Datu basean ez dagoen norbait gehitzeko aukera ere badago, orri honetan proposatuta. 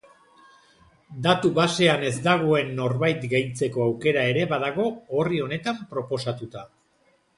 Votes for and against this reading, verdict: 1, 2, rejected